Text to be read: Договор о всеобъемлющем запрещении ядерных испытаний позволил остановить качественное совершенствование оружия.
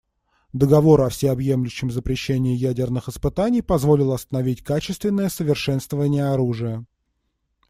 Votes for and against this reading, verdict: 2, 0, accepted